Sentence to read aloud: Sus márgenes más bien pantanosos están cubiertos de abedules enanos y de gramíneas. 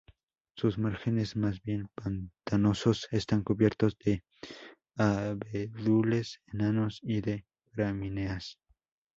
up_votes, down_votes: 2, 0